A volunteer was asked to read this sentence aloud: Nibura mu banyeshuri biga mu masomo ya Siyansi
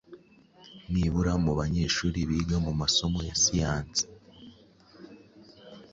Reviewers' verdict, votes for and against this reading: accepted, 2, 0